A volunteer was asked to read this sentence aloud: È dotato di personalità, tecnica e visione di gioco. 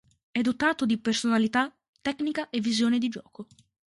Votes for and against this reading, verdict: 2, 0, accepted